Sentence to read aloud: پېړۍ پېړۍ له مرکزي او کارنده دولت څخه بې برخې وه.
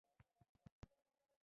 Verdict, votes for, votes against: rejected, 0, 2